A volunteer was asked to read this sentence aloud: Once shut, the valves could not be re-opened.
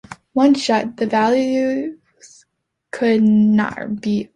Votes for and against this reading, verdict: 0, 2, rejected